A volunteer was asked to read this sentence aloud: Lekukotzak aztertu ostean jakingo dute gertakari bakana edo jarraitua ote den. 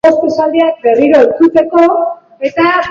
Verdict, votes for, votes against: rejected, 0, 2